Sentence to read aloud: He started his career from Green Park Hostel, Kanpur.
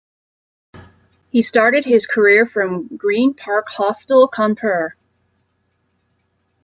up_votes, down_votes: 1, 2